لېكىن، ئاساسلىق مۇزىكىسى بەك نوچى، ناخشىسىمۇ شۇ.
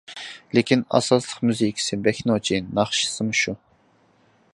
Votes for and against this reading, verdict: 2, 0, accepted